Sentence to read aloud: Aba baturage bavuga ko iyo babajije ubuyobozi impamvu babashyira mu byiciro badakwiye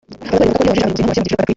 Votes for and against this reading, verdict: 0, 2, rejected